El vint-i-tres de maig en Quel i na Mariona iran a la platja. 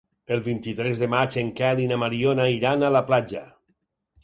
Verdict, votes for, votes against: accepted, 6, 0